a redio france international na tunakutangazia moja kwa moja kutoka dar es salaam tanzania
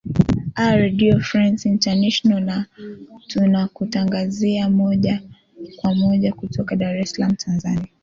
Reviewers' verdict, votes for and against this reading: rejected, 1, 2